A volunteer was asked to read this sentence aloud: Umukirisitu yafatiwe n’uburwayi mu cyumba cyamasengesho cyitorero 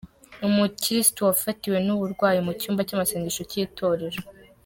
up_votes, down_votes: 0, 2